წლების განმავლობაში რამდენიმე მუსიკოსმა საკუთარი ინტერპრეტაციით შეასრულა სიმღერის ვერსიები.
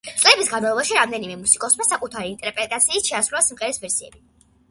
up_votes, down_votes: 2, 0